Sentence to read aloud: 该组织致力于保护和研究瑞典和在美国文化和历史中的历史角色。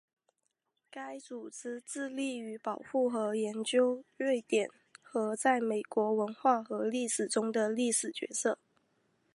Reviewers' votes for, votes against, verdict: 3, 0, accepted